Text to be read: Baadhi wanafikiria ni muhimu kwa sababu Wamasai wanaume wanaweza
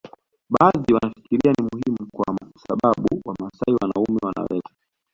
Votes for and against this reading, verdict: 1, 2, rejected